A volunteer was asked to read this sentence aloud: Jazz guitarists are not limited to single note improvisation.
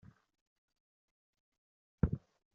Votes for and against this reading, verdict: 0, 2, rejected